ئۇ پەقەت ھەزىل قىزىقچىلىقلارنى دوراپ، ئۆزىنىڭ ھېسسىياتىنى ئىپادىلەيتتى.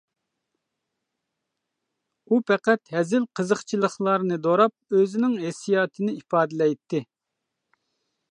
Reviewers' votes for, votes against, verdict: 2, 0, accepted